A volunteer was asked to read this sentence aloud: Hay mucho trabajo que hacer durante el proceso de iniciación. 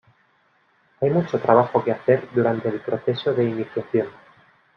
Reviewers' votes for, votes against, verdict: 0, 2, rejected